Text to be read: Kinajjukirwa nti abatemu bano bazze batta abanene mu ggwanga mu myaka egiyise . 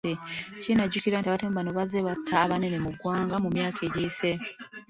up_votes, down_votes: 2, 0